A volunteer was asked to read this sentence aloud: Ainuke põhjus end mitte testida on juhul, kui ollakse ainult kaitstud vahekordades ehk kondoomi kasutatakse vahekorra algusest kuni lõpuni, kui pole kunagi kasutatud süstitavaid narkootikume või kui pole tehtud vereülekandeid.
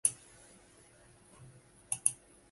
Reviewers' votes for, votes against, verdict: 0, 2, rejected